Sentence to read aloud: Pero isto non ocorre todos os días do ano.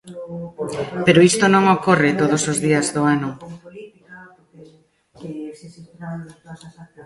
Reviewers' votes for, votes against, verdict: 0, 2, rejected